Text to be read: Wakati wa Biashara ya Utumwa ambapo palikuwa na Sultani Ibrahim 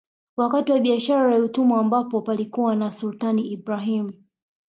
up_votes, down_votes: 2, 0